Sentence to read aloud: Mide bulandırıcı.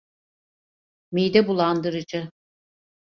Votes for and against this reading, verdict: 2, 0, accepted